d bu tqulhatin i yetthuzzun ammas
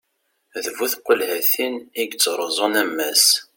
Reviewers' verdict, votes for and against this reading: rejected, 0, 2